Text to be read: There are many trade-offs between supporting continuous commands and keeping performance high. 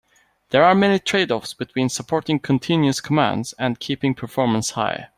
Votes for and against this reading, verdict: 2, 0, accepted